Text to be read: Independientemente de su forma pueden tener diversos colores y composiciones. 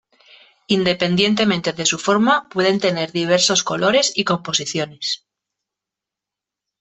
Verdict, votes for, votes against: accepted, 2, 0